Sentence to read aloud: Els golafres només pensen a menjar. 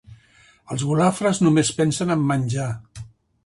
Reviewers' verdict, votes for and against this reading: accepted, 2, 1